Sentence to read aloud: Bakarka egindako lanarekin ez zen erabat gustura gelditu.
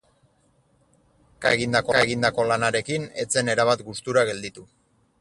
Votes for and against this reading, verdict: 0, 4, rejected